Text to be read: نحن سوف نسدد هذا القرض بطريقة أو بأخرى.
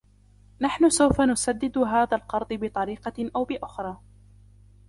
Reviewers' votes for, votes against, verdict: 2, 1, accepted